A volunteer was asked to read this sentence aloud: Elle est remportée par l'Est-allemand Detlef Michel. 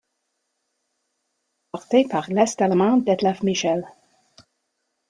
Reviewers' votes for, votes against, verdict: 1, 2, rejected